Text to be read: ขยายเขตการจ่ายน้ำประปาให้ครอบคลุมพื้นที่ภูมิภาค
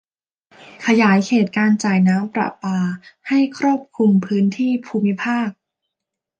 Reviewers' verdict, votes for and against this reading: accepted, 2, 0